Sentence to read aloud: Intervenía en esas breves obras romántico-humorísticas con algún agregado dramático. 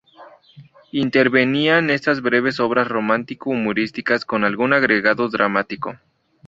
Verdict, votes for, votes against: accepted, 2, 0